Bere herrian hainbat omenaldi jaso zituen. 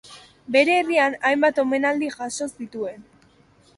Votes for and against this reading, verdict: 3, 0, accepted